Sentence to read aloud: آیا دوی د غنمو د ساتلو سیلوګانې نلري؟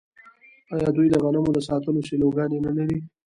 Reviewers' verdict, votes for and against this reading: accepted, 2, 1